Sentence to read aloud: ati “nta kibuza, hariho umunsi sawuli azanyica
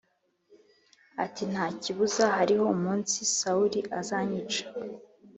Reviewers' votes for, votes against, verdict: 3, 0, accepted